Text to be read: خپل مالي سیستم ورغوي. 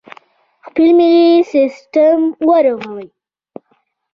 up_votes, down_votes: 1, 2